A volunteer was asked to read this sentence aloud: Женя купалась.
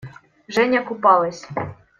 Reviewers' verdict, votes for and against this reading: accepted, 2, 0